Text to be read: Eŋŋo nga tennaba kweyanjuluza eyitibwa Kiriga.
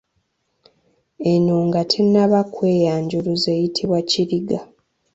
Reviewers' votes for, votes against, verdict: 1, 2, rejected